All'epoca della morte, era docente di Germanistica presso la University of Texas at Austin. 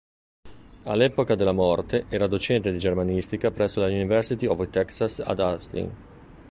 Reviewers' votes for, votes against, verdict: 0, 2, rejected